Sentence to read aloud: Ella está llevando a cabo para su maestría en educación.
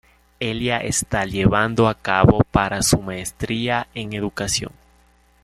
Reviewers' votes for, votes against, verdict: 1, 2, rejected